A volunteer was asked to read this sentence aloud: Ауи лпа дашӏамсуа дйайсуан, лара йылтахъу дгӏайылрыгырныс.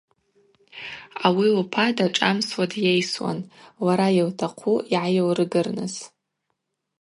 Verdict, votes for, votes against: rejected, 0, 2